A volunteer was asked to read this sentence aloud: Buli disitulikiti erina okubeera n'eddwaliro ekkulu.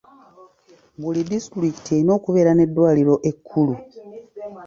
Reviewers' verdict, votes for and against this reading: rejected, 0, 2